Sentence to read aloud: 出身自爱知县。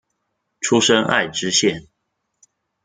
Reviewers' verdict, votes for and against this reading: rejected, 0, 2